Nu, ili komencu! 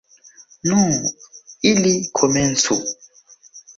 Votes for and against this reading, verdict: 2, 0, accepted